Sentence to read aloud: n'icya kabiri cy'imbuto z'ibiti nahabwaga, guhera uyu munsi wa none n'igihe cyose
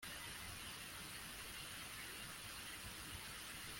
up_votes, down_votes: 0, 2